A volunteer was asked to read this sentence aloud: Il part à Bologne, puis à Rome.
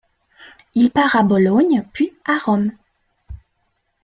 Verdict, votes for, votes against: rejected, 1, 2